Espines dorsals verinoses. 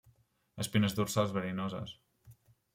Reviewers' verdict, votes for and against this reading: accepted, 3, 0